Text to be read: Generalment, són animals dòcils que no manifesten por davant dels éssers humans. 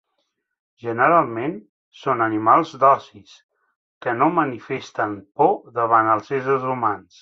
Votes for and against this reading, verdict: 1, 2, rejected